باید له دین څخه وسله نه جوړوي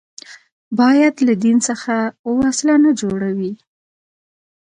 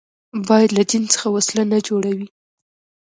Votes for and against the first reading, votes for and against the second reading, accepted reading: 2, 1, 1, 2, first